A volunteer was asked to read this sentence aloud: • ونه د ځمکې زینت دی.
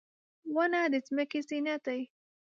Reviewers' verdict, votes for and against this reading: accepted, 2, 0